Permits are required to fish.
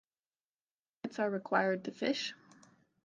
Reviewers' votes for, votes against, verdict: 1, 2, rejected